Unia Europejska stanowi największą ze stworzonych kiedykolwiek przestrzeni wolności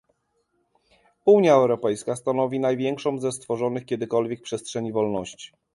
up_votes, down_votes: 2, 0